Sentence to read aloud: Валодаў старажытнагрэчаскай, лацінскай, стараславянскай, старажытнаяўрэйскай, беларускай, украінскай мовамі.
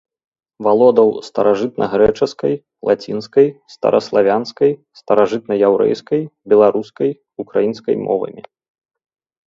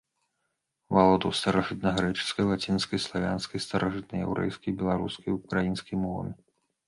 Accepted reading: first